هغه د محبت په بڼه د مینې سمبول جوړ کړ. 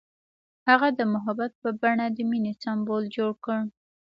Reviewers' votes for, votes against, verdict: 2, 0, accepted